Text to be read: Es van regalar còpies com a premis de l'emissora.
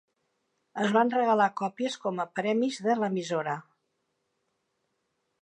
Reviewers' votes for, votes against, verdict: 3, 0, accepted